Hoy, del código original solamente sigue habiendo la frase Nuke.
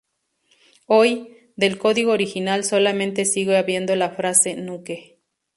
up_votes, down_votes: 0, 2